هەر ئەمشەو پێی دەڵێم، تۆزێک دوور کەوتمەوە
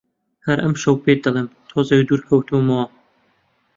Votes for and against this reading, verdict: 0, 2, rejected